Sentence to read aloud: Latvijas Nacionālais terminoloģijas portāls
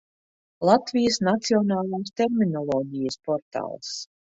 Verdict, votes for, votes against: rejected, 1, 2